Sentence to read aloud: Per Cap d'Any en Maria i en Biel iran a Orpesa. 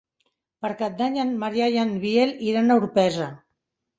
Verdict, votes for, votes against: rejected, 1, 2